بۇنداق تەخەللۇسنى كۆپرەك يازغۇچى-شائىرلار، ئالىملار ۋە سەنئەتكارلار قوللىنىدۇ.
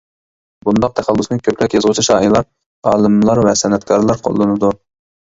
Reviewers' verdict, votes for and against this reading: rejected, 1, 2